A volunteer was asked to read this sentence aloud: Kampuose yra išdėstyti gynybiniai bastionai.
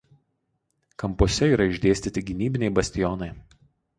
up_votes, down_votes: 4, 0